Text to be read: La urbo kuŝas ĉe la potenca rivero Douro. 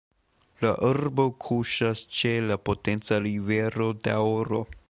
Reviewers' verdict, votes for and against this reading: rejected, 1, 2